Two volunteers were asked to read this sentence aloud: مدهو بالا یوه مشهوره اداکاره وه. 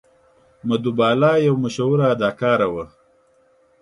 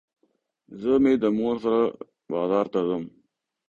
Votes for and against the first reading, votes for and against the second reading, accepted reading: 2, 0, 0, 2, first